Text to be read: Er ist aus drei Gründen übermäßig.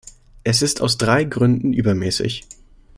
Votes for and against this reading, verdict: 0, 2, rejected